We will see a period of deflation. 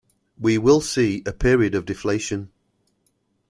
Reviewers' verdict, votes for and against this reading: accepted, 2, 0